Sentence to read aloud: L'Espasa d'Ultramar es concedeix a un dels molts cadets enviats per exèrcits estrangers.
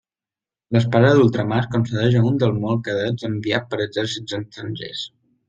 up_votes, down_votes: 1, 2